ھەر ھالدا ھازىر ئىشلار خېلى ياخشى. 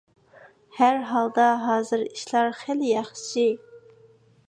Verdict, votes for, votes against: accepted, 2, 0